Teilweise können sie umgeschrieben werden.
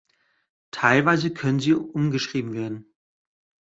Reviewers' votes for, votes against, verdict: 2, 0, accepted